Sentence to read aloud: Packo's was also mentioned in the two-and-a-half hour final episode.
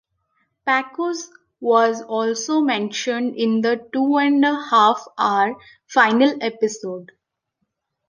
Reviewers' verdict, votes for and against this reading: accepted, 2, 0